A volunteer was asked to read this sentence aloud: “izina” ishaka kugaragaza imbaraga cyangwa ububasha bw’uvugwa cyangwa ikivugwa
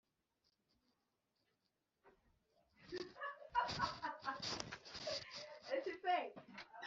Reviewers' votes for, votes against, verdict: 1, 2, rejected